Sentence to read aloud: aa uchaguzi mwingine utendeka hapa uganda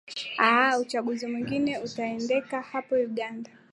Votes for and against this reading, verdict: 1, 2, rejected